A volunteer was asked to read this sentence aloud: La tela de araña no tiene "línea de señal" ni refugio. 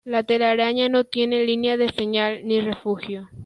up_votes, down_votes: 0, 2